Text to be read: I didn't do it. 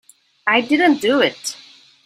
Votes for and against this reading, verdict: 2, 0, accepted